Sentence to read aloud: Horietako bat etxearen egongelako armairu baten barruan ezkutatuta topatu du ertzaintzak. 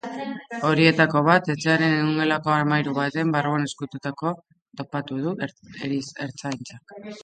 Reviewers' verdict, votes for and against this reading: rejected, 0, 2